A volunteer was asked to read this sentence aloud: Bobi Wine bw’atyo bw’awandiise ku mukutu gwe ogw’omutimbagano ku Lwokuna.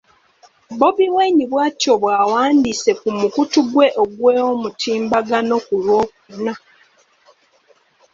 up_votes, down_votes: 2, 1